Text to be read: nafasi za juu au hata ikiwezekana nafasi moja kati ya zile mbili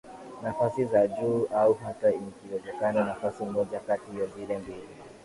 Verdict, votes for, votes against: accepted, 2, 0